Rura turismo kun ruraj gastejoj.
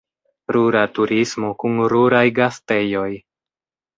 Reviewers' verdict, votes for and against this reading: rejected, 1, 2